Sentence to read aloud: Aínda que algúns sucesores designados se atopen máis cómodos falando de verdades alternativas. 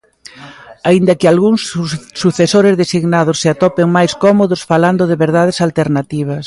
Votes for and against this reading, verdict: 0, 2, rejected